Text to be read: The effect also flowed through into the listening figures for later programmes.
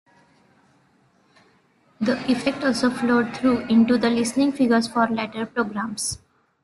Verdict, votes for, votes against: accepted, 2, 0